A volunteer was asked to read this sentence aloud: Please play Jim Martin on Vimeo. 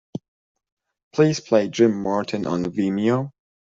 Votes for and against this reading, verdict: 2, 0, accepted